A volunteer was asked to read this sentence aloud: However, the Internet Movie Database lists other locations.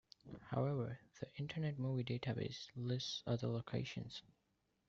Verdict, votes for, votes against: accepted, 2, 0